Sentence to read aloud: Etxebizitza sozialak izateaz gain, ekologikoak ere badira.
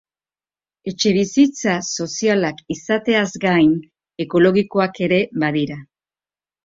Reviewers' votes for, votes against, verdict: 2, 0, accepted